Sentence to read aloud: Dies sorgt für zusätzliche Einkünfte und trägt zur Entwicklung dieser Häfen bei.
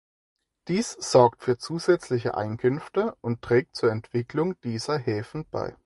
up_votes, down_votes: 4, 2